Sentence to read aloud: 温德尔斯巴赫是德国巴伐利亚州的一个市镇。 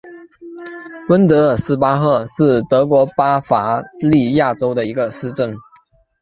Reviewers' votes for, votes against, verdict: 3, 1, accepted